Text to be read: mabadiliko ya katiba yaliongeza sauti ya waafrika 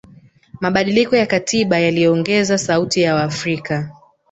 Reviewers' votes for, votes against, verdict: 2, 1, accepted